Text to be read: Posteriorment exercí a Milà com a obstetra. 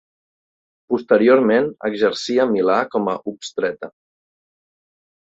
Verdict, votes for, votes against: accepted, 2, 1